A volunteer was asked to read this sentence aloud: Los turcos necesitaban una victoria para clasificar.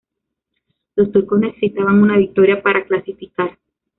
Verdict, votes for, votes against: rejected, 0, 2